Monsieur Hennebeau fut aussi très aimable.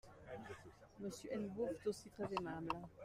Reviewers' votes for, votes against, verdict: 0, 2, rejected